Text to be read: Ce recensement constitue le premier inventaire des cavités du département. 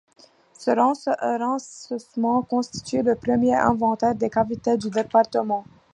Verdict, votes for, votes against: rejected, 0, 2